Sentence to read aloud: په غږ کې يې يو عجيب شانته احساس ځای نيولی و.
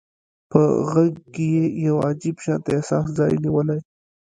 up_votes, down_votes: 1, 2